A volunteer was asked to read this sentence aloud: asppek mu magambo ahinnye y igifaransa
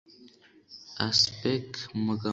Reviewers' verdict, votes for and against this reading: rejected, 1, 2